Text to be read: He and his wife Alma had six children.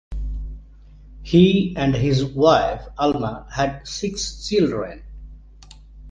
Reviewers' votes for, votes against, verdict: 2, 0, accepted